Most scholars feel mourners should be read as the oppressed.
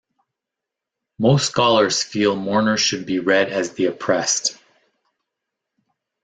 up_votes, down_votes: 2, 1